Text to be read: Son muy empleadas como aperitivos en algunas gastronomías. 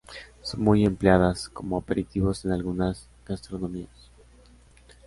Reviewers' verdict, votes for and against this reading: accepted, 2, 1